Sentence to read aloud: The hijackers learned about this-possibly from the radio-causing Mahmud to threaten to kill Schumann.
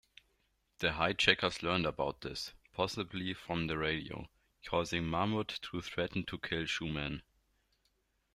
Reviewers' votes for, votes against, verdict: 2, 1, accepted